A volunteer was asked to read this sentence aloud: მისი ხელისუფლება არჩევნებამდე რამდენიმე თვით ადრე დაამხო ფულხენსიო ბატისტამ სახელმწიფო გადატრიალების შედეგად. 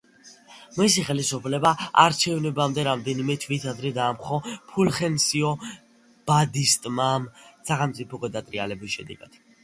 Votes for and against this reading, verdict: 0, 2, rejected